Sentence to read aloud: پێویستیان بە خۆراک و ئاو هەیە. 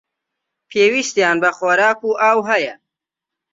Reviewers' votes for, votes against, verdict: 2, 0, accepted